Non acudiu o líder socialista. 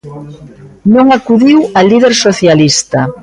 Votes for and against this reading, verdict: 1, 2, rejected